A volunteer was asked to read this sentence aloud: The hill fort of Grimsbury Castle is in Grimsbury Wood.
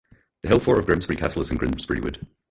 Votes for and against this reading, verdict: 4, 2, accepted